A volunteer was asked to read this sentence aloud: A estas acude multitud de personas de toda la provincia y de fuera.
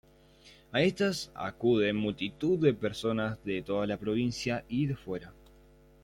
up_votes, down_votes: 2, 0